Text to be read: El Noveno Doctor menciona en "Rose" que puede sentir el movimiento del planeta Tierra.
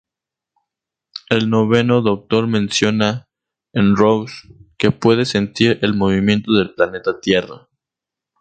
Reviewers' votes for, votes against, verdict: 2, 0, accepted